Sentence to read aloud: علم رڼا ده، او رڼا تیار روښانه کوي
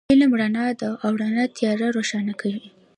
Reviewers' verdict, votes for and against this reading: accepted, 2, 0